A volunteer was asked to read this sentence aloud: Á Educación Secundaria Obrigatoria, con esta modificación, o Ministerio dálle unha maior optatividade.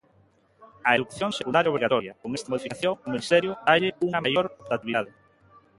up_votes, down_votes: 0, 2